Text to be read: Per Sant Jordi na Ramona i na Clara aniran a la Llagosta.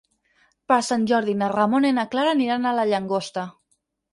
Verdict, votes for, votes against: rejected, 0, 4